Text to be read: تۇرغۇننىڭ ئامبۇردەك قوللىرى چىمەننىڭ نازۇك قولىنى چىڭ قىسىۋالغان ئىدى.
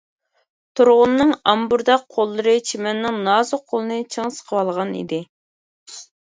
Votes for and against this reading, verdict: 0, 2, rejected